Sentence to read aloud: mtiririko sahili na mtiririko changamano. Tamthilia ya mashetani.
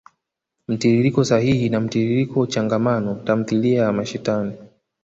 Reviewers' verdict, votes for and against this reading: accepted, 2, 0